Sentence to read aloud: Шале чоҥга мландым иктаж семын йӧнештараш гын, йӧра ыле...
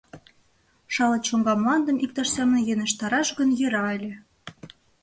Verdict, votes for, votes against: accepted, 3, 0